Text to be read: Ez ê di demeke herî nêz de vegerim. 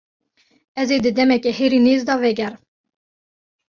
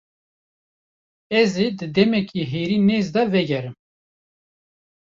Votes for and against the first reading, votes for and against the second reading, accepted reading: 1, 2, 2, 0, second